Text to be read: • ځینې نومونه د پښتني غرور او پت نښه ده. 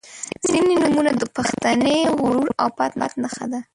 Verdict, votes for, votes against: rejected, 1, 4